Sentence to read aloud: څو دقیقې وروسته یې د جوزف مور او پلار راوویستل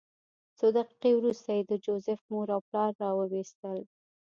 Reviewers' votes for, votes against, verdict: 2, 0, accepted